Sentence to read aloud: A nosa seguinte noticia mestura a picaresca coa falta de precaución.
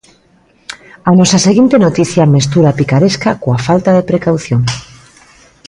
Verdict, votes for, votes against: accepted, 2, 0